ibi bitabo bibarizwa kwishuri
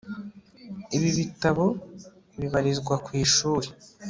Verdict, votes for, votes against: accepted, 2, 0